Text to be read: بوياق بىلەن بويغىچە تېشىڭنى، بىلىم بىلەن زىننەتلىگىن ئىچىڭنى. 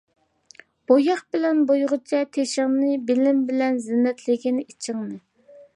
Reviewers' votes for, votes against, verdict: 2, 0, accepted